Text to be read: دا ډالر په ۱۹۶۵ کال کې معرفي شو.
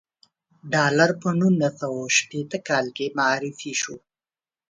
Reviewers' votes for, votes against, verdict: 0, 2, rejected